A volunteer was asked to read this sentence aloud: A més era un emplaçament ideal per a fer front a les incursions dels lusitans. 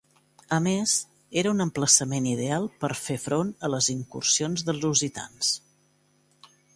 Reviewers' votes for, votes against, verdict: 1, 2, rejected